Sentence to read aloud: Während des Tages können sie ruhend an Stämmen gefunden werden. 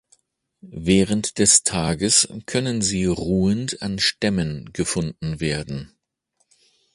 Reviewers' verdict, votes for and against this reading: accepted, 2, 0